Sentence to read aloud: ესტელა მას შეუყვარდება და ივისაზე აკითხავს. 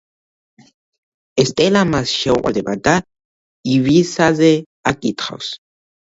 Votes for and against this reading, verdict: 2, 1, accepted